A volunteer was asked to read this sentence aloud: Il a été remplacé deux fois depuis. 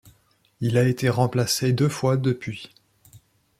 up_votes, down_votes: 2, 0